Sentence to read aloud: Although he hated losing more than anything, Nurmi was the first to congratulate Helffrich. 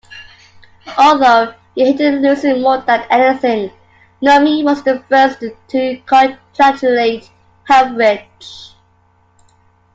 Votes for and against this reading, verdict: 2, 1, accepted